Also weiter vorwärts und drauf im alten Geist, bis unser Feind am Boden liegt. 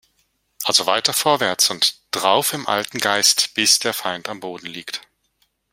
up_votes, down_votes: 1, 2